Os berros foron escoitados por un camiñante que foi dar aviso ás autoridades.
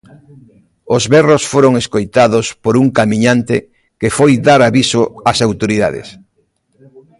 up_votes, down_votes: 0, 2